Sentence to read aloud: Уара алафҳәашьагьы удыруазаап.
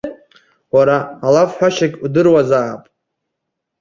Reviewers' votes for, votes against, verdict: 2, 0, accepted